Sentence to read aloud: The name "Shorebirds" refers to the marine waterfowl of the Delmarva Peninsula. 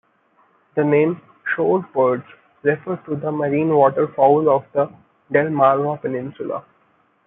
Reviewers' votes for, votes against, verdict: 2, 1, accepted